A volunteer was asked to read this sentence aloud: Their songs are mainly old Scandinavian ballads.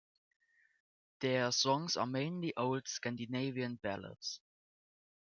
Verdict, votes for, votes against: accepted, 2, 0